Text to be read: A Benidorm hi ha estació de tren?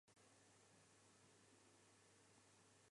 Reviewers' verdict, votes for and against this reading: rejected, 0, 3